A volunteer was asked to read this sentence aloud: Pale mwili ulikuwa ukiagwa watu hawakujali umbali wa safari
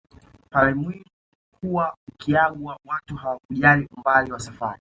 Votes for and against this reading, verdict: 2, 1, accepted